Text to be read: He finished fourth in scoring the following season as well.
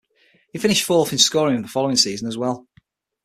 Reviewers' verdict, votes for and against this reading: accepted, 6, 0